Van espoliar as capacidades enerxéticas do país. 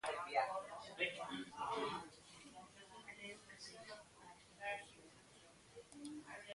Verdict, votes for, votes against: rejected, 0, 2